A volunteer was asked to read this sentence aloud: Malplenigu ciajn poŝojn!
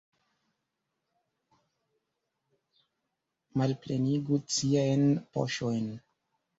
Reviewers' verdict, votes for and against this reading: accepted, 2, 1